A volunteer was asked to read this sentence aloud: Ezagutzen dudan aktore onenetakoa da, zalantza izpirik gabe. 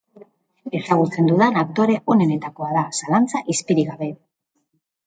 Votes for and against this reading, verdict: 4, 1, accepted